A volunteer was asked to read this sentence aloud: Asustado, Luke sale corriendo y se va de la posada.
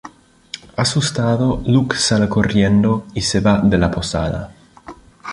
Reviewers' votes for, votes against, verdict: 2, 0, accepted